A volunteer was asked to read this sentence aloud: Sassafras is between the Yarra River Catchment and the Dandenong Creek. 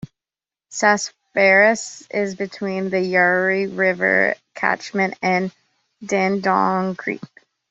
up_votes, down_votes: 1, 2